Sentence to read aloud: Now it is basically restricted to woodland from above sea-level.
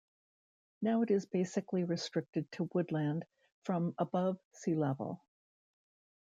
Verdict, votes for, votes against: rejected, 1, 2